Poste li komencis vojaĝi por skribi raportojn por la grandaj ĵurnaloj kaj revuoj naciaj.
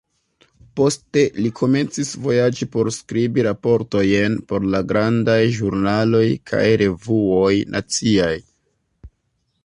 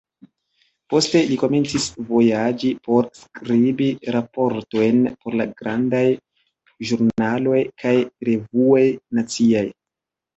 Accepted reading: second